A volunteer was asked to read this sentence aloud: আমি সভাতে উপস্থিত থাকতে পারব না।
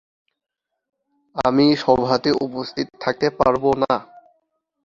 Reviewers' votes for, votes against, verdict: 2, 0, accepted